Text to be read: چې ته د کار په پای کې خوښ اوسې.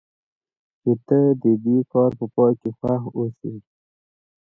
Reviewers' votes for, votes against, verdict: 1, 2, rejected